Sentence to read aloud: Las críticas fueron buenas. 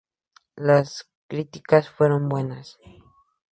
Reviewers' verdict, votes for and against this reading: accepted, 2, 0